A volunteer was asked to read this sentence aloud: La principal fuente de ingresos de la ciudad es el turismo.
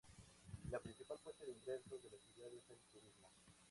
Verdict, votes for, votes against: rejected, 0, 2